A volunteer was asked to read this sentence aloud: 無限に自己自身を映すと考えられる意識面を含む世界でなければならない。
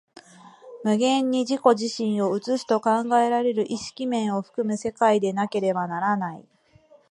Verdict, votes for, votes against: accepted, 2, 0